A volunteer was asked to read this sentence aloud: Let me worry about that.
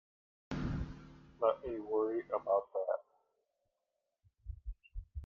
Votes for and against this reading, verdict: 1, 2, rejected